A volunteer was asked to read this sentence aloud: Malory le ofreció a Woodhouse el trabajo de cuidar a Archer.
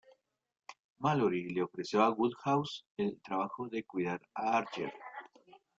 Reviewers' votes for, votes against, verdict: 1, 2, rejected